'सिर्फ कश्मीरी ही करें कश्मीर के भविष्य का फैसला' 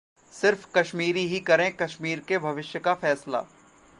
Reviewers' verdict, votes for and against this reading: accepted, 2, 0